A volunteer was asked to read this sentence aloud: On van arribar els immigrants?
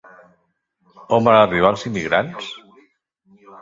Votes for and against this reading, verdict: 1, 2, rejected